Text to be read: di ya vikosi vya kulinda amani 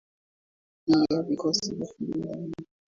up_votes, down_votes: 0, 2